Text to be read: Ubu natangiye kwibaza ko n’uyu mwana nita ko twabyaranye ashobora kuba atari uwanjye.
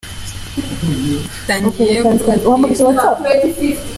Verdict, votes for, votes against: rejected, 0, 2